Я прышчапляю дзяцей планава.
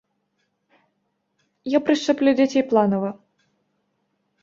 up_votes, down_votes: 0, 3